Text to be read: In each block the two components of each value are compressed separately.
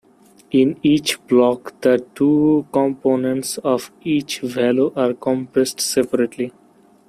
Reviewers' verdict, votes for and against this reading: rejected, 0, 2